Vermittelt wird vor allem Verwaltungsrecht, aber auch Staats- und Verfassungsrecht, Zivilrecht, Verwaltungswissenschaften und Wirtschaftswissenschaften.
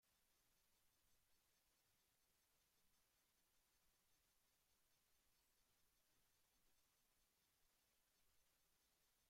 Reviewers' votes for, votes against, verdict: 0, 2, rejected